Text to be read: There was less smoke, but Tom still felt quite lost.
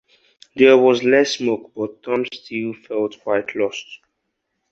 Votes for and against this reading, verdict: 4, 0, accepted